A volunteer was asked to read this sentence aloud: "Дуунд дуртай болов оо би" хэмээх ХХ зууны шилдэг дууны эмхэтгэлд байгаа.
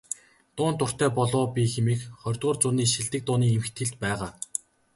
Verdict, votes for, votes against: accepted, 2, 0